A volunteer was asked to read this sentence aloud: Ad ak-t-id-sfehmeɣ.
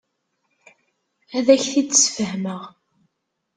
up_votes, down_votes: 4, 0